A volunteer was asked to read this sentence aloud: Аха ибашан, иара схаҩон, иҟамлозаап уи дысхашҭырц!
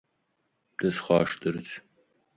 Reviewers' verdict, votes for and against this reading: rejected, 0, 3